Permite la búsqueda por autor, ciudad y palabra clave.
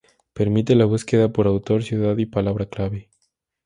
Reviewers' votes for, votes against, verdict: 2, 0, accepted